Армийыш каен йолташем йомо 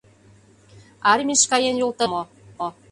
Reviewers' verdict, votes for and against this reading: rejected, 0, 2